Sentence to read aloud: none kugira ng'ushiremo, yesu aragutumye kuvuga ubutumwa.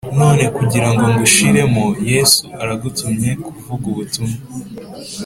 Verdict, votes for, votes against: accepted, 3, 0